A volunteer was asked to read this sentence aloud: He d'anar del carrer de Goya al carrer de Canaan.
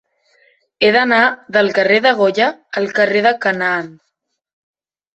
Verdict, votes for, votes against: accepted, 3, 0